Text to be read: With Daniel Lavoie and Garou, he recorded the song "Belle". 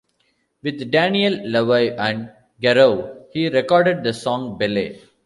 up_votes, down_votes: 0, 2